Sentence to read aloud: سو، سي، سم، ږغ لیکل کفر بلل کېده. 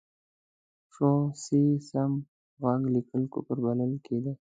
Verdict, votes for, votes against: accepted, 2, 0